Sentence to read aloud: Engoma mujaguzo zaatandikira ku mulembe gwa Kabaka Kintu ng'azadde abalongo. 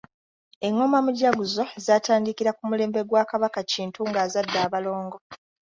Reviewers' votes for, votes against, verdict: 2, 0, accepted